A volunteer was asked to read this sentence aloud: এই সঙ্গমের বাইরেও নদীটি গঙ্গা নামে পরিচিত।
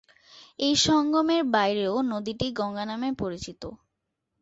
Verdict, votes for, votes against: accepted, 3, 0